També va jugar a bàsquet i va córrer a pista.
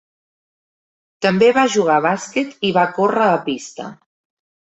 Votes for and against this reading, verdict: 3, 0, accepted